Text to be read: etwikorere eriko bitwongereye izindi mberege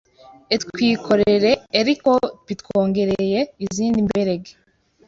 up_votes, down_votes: 1, 2